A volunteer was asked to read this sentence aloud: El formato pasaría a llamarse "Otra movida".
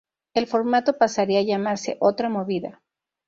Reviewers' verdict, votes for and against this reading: accepted, 2, 0